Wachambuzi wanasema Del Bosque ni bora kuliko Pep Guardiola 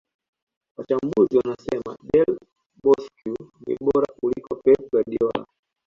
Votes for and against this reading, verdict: 1, 2, rejected